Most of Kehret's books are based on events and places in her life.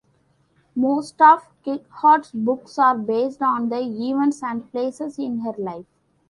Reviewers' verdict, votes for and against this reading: accepted, 2, 1